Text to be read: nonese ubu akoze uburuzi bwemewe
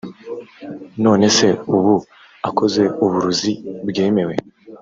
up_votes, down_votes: 1, 2